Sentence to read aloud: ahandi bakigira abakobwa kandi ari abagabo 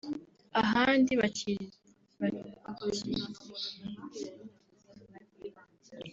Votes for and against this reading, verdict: 0, 2, rejected